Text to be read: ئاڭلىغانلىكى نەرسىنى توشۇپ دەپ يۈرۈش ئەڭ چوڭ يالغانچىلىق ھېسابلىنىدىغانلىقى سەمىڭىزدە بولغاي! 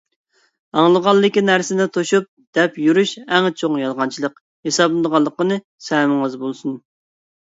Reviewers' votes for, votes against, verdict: 1, 2, rejected